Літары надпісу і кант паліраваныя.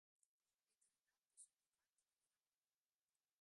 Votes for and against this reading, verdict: 0, 2, rejected